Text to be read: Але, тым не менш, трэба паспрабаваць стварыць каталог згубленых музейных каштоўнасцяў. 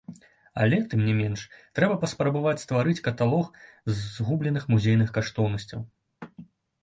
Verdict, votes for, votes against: accepted, 2, 0